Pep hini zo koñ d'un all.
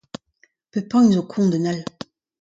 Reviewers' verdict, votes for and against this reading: accepted, 2, 0